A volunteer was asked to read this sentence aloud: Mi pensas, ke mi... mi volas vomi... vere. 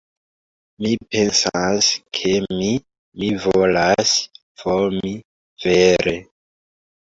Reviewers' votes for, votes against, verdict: 2, 0, accepted